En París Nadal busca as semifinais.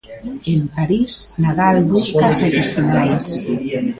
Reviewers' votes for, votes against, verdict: 0, 3, rejected